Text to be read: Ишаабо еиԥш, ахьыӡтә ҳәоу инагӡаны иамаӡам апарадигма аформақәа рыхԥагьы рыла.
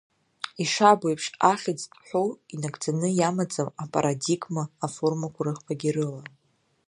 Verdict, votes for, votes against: rejected, 0, 2